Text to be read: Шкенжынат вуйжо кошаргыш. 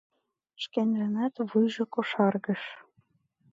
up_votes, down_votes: 3, 0